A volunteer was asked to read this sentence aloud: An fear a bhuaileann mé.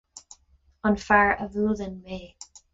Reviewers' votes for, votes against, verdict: 4, 0, accepted